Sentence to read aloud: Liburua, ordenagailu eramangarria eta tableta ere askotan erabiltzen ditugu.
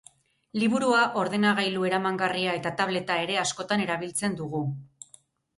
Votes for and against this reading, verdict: 0, 2, rejected